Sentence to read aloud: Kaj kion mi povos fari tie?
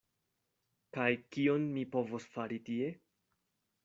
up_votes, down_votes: 2, 0